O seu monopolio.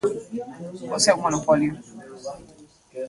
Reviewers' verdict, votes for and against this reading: rejected, 1, 2